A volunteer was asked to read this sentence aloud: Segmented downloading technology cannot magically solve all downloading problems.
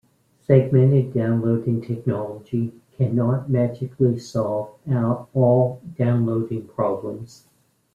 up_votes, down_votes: 1, 2